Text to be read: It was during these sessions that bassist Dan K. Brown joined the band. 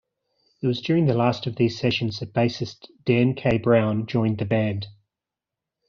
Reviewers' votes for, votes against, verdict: 0, 2, rejected